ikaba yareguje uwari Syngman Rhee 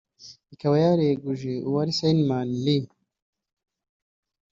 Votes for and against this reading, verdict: 1, 2, rejected